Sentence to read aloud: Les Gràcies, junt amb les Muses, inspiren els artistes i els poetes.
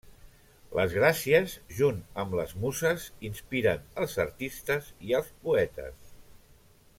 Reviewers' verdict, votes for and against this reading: rejected, 1, 2